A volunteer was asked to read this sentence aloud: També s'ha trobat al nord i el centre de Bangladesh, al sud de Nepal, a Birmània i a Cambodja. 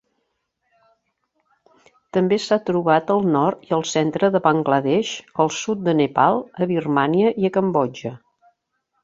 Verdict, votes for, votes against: accepted, 2, 0